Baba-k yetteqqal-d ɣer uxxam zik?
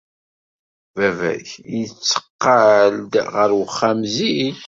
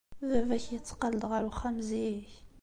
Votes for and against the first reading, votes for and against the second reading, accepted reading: 1, 2, 2, 0, second